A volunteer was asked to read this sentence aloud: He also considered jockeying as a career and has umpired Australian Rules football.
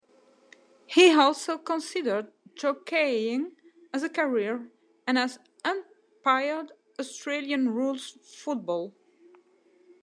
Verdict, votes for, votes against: rejected, 0, 2